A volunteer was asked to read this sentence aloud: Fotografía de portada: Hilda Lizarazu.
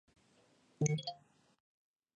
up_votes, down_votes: 0, 2